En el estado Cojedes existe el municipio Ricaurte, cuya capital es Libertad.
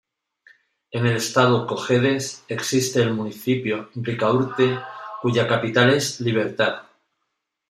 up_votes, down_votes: 2, 0